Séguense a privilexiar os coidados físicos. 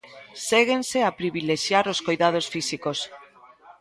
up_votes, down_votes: 2, 0